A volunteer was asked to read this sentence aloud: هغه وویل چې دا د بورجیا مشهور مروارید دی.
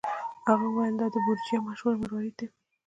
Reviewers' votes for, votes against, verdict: 2, 0, accepted